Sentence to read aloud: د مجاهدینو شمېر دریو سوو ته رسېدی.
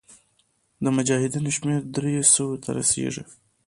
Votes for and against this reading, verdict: 3, 2, accepted